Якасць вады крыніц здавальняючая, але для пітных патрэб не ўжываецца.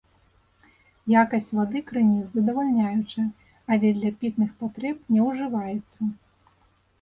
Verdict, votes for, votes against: rejected, 0, 2